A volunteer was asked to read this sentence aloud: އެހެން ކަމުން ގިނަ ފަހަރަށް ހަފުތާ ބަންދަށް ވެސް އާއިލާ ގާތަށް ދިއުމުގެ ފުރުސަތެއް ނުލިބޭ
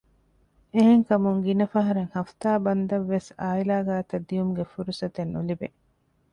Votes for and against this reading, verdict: 2, 0, accepted